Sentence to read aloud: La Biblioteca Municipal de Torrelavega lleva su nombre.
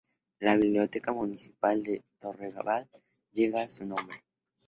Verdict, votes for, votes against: rejected, 0, 2